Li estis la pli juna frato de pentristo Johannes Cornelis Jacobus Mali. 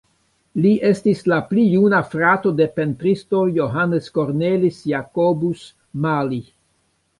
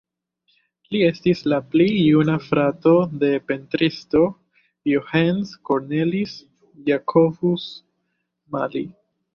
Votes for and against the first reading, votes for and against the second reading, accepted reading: 3, 2, 0, 2, first